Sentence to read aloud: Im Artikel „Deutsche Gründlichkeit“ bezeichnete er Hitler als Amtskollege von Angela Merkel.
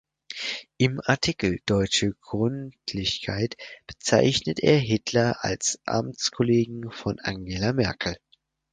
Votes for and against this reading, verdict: 0, 4, rejected